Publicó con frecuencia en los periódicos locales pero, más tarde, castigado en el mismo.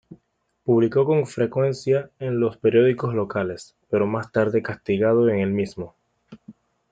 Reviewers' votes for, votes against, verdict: 1, 2, rejected